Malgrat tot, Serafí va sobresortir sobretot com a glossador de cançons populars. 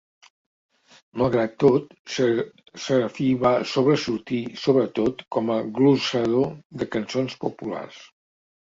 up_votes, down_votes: 0, 2